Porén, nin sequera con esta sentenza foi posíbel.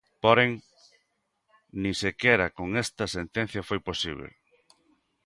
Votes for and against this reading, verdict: 0, 2, rejected